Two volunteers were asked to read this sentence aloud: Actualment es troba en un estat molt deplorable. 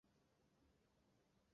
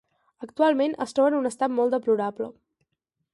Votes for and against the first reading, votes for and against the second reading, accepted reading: 0, 3, 2, 0, second